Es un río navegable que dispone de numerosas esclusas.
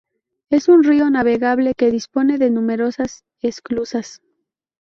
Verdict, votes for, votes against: rejected, 0, 4